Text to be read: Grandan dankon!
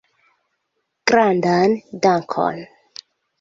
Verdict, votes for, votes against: accepted, 2, 1